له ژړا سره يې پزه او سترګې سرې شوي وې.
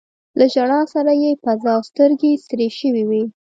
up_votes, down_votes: 2, 0